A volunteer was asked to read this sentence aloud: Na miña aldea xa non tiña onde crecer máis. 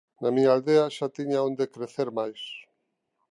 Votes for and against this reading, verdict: 0, 2, rejected